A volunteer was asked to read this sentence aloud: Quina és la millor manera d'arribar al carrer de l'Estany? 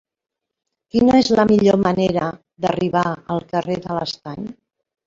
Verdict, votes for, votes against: accepted, 3, 1